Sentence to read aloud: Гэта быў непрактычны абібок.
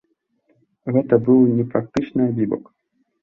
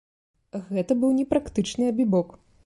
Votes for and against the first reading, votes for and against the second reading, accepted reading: 1, 2, 2, 0, second